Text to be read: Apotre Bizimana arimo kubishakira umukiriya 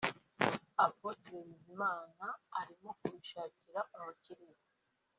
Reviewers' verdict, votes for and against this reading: rejected, 0, 2